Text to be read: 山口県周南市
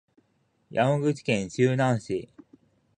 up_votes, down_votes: 3, 0